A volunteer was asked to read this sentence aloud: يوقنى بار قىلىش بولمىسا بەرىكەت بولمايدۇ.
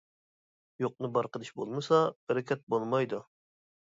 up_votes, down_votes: 2, 0